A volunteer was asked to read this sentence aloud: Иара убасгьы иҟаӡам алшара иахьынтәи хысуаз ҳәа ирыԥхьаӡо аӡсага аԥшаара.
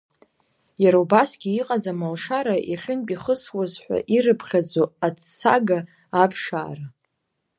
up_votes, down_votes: 1, 2